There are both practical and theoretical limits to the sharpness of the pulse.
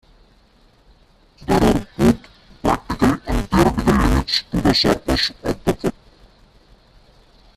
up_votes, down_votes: 1, 2